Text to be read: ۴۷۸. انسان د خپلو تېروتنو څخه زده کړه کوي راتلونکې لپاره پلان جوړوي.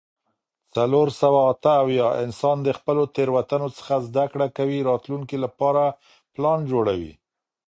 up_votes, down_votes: 0, 2